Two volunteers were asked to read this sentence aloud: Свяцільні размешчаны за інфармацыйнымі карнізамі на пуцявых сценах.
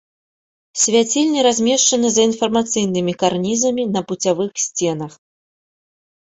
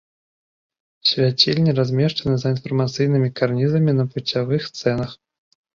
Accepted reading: first